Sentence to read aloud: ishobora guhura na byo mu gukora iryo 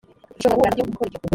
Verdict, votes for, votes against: rejected, 1, 2